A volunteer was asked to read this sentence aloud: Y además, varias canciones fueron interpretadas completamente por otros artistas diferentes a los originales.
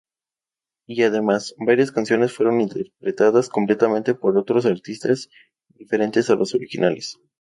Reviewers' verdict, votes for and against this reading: accepted, 2, 0